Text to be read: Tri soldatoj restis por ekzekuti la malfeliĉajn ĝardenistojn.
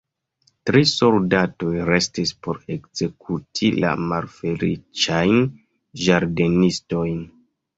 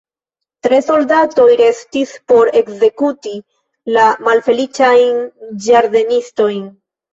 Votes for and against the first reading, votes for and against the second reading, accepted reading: 2, 1, 2, 3, first